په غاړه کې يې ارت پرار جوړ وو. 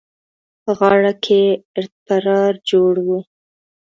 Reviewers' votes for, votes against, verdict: 2, 0, accepted